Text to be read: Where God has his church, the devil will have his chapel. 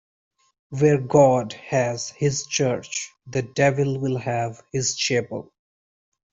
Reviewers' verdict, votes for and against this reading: accepted, 2, 1